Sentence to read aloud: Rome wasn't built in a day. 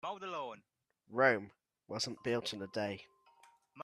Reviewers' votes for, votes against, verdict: 1, 2, rejected